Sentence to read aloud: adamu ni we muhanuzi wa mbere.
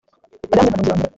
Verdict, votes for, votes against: rejected, 0, 2